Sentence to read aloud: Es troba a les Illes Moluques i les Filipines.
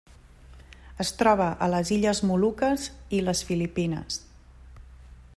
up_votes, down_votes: 2, 0